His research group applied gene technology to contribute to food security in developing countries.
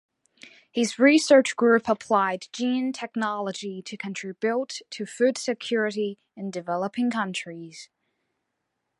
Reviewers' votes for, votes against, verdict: 2, 0, accepted